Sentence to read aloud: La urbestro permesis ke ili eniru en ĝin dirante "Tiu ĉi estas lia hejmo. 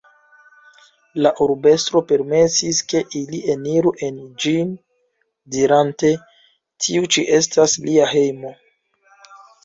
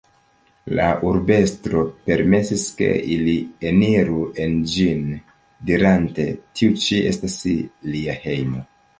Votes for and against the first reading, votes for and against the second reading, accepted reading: 0, 2, 3, 0, second